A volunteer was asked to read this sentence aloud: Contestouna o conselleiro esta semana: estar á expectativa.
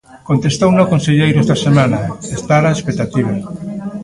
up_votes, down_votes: 1, 2